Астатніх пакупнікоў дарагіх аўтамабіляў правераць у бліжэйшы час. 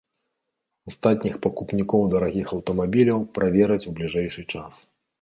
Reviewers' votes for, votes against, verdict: 2, 0, accepted